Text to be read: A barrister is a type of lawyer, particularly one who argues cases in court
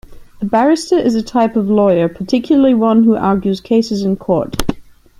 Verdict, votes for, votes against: accepted, 2, 0